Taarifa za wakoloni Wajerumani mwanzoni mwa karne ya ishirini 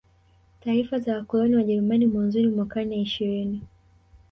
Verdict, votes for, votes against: rejected, 1, 2